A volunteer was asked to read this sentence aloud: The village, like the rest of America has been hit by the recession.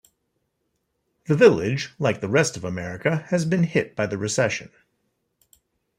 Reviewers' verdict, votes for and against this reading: accepted, 2, 0